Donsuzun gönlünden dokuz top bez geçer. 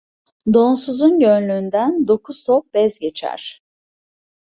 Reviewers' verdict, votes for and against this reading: accepted, 2, 0